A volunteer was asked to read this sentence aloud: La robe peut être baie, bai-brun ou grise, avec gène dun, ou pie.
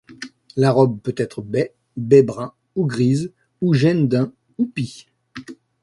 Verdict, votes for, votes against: rejected, 1, 2